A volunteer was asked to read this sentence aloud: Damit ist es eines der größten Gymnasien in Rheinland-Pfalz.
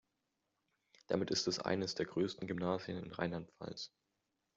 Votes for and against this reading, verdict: 1, 2, rejected